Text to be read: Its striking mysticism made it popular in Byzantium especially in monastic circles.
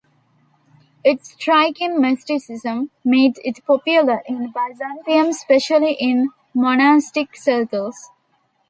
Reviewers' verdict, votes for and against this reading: rejected, 0, 2